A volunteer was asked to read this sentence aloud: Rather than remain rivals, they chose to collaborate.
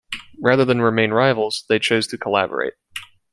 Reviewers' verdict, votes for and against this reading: accepted, 2, 0